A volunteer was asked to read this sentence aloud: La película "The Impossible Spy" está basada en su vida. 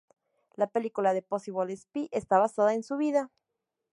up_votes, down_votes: 0, 2